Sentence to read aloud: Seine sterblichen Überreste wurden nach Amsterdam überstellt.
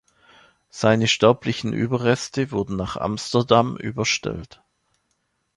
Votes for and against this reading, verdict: 2, 1, accepted